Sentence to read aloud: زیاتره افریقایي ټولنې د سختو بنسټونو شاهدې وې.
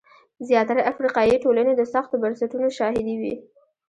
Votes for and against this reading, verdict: 2, 0, accepted